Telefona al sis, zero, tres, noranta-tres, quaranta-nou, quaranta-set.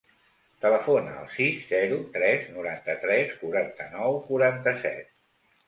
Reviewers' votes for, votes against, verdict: 2, 0, accepted